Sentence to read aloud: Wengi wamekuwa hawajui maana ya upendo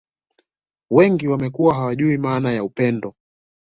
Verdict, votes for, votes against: accepted, 2, 0